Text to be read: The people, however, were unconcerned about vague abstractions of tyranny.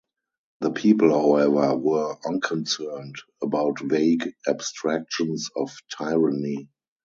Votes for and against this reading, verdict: 2, 2, rejected